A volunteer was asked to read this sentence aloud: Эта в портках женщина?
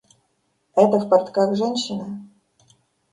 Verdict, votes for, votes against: accepted, 2, 0